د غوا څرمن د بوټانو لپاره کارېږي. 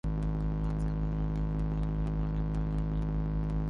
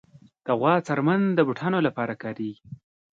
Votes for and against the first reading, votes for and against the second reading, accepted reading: 0, 3, 2, 0, second